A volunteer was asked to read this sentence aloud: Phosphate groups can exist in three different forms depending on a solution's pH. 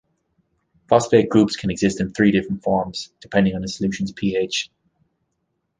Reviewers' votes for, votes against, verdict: 2, 0, accepted